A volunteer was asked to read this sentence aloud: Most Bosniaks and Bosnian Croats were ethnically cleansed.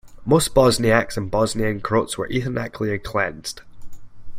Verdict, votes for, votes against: rejected, 1, 2